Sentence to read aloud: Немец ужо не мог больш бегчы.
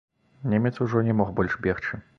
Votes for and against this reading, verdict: 2, 0, accepted